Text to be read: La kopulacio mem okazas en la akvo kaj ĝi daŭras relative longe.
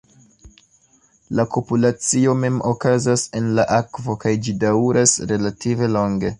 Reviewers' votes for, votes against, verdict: 2, 0, accepted